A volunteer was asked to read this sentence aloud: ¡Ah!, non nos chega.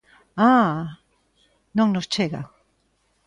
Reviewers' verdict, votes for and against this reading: accepted, 2, 0